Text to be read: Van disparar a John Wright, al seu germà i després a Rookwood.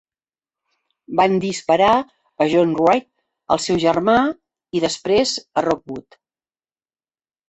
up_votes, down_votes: 2, 0